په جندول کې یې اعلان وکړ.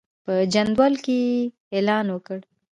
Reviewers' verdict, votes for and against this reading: rejected, 0, 2